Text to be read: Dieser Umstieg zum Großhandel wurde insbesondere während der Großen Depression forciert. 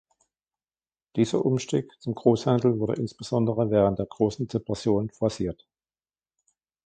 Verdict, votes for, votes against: accepted, 2, 0